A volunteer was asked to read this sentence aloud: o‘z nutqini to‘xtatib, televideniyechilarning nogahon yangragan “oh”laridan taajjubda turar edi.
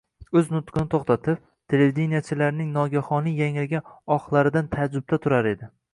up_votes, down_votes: 0, 2